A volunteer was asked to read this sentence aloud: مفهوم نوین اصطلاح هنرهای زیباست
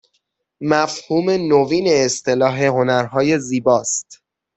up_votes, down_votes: 3, 6